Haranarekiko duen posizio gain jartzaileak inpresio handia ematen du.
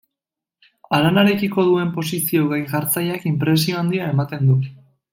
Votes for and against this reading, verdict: 2, 0, accepted